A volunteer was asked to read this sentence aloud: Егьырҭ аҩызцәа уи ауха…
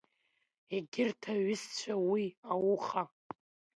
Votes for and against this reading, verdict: 1, 2, rejected